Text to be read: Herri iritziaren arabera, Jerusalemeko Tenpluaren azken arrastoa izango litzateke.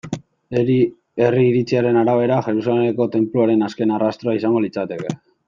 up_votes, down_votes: 1, 2